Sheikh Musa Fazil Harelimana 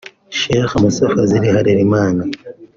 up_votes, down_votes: 2, 0